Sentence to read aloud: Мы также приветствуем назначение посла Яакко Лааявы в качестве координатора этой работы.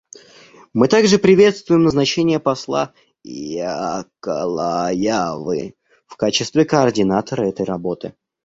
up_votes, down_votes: 1, 2